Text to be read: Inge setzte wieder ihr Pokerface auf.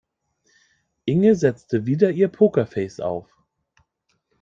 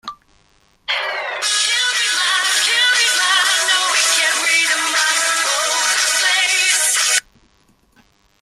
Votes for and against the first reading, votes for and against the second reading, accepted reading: 2, 0, 0, 2, first